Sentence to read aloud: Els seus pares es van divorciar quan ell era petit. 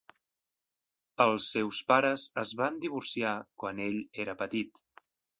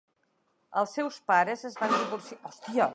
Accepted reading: first